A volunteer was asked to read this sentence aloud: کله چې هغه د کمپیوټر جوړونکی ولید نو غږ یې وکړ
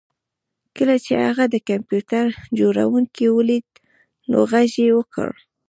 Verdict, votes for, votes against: rejected, 1, 2